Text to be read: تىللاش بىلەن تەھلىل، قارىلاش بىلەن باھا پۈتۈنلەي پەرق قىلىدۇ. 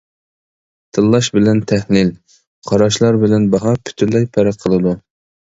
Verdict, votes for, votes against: rejected, 0, 2